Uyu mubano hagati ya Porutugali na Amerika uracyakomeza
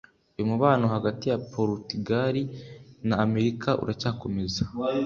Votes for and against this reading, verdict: 2, 0, accepted